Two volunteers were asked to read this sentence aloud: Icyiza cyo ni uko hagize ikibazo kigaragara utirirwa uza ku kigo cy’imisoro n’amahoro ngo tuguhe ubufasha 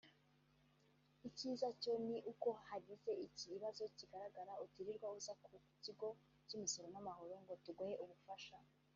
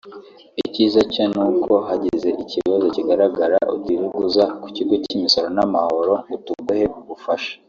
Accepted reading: second